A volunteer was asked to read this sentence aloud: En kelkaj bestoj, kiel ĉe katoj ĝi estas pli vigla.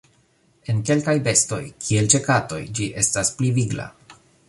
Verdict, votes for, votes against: accepted, 2, 0